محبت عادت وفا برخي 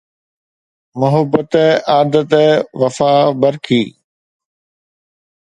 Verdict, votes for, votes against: accepted, 2, 0